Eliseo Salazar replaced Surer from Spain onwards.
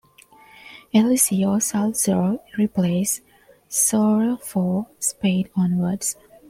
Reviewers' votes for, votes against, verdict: 2, 1, accepted